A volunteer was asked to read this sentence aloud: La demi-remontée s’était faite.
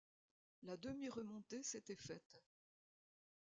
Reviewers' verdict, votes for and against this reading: accepted, 2, 0